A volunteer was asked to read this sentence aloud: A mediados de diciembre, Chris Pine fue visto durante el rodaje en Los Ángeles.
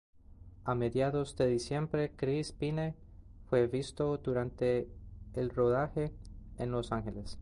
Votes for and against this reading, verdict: 2, 0, accepted